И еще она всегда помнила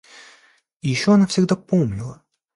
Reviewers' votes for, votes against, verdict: 2, 0, accepted